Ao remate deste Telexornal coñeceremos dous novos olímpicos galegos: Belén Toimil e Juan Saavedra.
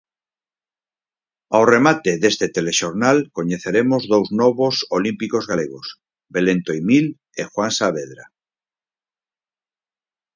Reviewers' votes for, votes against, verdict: 4, 2, accepted